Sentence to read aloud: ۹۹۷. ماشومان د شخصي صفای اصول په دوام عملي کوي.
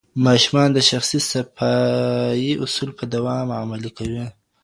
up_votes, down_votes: 0, 2